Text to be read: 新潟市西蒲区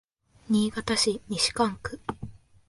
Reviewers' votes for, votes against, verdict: 1, 2, rejected